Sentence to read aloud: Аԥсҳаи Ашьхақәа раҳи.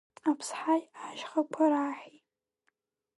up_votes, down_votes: 1, 3